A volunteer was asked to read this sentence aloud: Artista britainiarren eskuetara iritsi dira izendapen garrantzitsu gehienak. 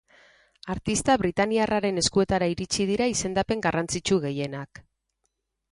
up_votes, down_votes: 2, 4